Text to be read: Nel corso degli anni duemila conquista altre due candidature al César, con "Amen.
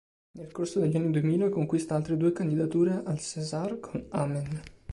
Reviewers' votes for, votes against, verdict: 3, 0, accepted